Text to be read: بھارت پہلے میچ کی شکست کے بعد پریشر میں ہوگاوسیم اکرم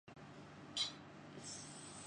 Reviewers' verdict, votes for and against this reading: rejected, 0, 2